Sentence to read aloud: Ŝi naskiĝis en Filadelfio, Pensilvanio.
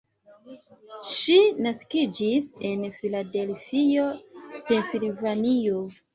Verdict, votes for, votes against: accepted, 2, 0